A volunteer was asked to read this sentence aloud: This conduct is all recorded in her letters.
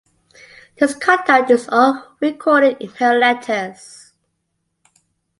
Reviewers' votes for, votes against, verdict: 2, 0, accepted